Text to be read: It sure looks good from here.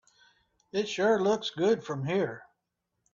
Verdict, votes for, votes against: accepted, 2, 0